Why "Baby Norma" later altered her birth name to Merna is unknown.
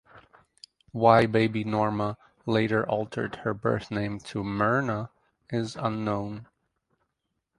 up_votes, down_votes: 4, 0